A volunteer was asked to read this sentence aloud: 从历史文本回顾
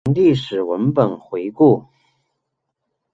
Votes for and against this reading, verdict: 0, 2, rejected